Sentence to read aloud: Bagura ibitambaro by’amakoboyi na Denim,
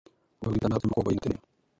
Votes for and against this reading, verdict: 1, 2, rejected